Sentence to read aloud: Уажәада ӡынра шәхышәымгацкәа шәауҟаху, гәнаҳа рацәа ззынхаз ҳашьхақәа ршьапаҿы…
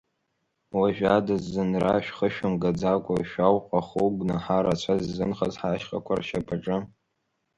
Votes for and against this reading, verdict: 0, 2, rejected